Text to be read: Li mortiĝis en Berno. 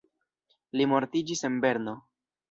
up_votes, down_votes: 2, 0